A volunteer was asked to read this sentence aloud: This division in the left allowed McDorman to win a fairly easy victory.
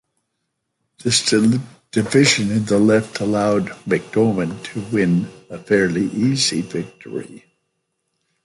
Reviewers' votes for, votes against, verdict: 2, 0, accepted